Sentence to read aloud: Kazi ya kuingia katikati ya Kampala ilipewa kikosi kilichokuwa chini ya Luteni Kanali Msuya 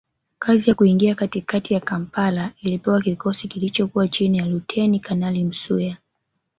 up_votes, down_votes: 1, 2